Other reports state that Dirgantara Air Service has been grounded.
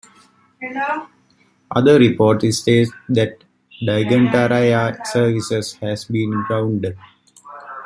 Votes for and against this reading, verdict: 0, 2, rejected